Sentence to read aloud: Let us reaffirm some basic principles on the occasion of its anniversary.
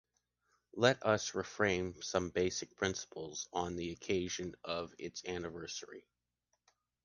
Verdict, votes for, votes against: rejected, 0, 2